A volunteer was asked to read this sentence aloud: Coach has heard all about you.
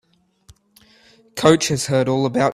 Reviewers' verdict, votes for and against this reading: rejected, 0, 2